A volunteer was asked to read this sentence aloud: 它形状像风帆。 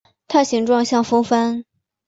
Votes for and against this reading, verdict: 6, 0, accepted